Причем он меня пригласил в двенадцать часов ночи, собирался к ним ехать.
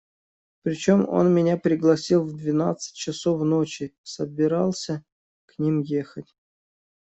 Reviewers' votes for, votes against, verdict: 2, 0, accepted